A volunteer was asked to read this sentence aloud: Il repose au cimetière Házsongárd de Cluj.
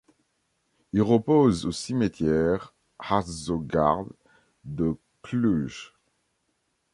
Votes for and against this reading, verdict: 1, 2, rejected